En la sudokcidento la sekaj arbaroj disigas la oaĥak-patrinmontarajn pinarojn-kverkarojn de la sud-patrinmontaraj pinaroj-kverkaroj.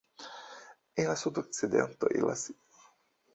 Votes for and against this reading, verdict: 0, 2, rejected